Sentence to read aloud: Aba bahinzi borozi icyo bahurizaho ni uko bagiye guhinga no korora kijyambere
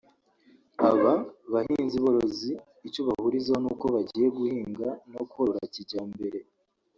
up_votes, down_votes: 0, 2